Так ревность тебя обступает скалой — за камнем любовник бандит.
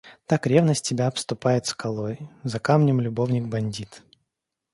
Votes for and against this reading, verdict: 2, 0, accepted